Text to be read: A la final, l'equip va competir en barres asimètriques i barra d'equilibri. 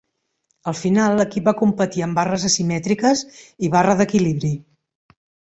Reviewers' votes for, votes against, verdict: 1, 2, rejected